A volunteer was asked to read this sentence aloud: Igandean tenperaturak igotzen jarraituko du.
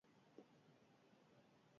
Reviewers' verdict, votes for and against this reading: rejected, 0, 4